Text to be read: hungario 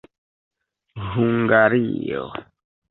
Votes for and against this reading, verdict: 1, 2, rejected